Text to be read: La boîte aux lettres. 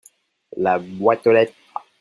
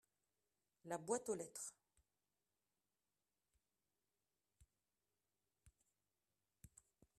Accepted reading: second